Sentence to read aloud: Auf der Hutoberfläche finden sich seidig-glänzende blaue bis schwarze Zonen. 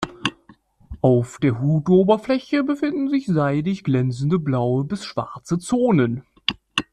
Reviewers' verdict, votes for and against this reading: rejected, 0, 2